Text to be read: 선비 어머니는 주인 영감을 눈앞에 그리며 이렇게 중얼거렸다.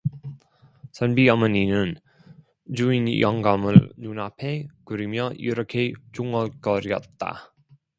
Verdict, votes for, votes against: rejected, 0, 2